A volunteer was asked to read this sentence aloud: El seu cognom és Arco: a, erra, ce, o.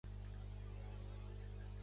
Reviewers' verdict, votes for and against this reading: rejected, 0, 2